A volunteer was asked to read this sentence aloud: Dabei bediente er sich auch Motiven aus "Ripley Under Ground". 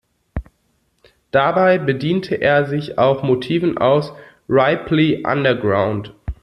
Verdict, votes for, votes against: rejected, 0, 2